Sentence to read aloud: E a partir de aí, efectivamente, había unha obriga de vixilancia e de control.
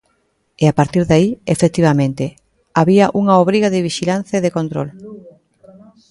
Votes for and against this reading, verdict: 1, 2, rejected